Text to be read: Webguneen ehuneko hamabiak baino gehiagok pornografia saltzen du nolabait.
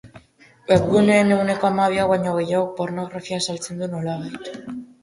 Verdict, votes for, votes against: rejected, 0, 3